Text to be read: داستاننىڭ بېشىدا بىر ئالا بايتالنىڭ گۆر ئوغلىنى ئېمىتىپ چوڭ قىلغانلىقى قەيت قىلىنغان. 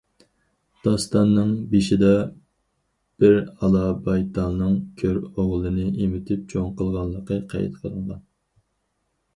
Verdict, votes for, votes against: rejected, 2, 2